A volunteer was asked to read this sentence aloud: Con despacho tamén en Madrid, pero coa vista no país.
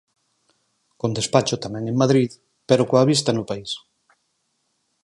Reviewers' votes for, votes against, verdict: 4, 0, accepted